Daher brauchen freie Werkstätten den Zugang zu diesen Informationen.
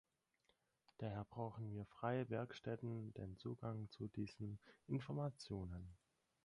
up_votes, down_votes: 2, 4